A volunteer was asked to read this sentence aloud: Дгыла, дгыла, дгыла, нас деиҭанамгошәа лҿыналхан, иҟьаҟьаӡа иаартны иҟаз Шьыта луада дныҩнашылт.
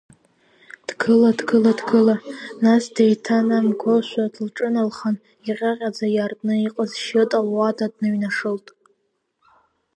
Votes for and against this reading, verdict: 2, 0, accepted